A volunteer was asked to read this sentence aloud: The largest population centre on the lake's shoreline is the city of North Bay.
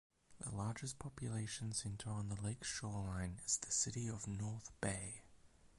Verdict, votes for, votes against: accepted, 4, 0